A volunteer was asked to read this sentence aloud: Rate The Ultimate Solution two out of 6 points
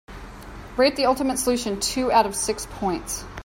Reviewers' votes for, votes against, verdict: 0, 2, rejected